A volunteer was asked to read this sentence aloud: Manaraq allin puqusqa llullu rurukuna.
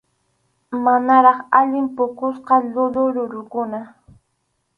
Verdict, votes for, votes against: accepted, 4, 0